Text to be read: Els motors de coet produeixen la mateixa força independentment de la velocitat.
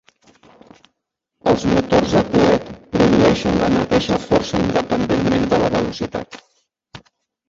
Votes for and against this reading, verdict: 0, 2, rejected